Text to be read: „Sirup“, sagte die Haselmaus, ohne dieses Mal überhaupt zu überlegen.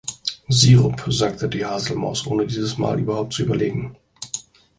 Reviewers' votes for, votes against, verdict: 3, 0, accepted